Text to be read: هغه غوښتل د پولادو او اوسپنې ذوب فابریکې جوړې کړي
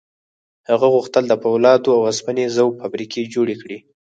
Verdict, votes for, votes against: accepted, 4, 2